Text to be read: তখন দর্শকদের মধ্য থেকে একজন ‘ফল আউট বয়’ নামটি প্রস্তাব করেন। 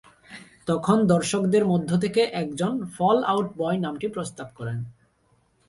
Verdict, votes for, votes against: accepted, 2, 0